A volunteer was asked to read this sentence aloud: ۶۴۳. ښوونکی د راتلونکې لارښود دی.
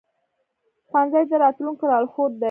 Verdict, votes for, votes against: rejected, 0, 2